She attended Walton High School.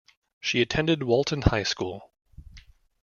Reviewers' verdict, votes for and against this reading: accepted, 2, 0